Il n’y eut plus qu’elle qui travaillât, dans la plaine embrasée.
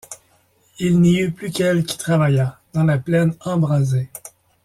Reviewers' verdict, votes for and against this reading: accepted, 2, 0